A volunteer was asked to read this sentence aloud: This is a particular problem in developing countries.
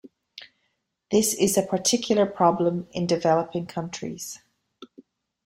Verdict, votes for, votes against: accepted, 2, 0